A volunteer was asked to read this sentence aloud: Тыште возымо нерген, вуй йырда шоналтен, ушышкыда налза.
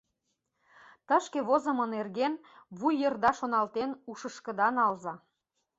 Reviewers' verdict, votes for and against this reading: rejected, 0, 2